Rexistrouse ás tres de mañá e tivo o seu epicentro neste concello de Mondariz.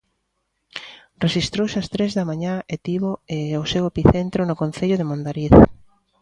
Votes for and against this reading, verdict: 0, 2, rejected